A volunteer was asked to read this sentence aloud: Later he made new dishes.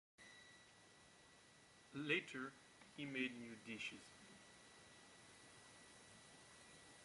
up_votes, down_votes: 0, 2